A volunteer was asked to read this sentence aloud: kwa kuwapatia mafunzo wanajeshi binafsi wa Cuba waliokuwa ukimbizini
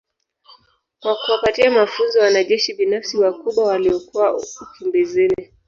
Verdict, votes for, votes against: rejected, 1, 2